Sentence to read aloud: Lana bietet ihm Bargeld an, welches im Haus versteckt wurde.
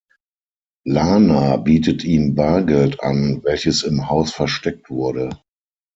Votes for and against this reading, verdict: 6, 0, accepted